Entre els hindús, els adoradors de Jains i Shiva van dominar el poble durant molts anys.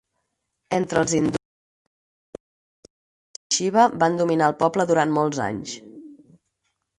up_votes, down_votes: 0, 4